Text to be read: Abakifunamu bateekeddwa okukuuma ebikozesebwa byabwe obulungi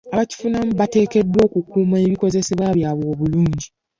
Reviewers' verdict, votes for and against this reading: rejected, 0, 2